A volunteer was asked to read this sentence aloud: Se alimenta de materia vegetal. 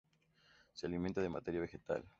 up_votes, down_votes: 2, 0